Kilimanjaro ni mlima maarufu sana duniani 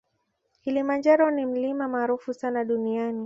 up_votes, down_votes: 2, 0